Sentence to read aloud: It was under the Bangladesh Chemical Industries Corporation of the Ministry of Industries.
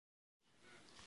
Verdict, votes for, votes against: rejected, 0, 2